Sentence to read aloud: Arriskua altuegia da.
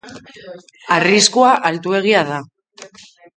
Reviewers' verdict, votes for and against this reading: accepted, 2, 0